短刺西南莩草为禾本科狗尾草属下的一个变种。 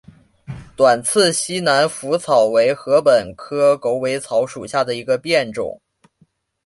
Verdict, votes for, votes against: accepted, 2, 0